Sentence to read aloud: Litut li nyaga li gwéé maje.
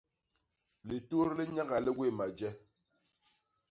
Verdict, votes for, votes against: accepted, 2, 0